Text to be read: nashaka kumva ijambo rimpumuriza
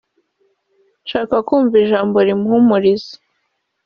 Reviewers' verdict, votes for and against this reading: rejected, 1, 2